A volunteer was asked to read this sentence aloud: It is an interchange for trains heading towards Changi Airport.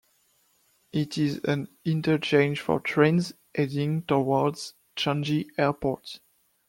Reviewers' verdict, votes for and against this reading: rejected, 0, 2